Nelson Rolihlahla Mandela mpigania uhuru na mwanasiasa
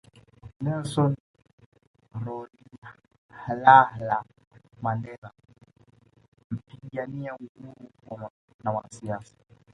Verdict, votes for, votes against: rejected, 1, 2